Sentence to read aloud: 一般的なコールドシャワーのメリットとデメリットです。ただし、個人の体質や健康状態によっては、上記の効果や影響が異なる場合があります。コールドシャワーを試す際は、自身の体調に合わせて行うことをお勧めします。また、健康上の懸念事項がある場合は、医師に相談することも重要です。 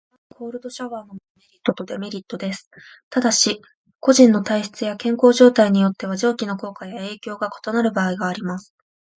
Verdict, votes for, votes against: accepted, 3, 0